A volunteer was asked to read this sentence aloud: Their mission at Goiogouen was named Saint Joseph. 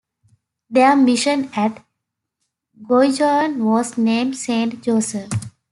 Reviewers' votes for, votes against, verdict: 0, 2, rejected